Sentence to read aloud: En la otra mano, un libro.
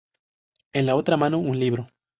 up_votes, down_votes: 2, 0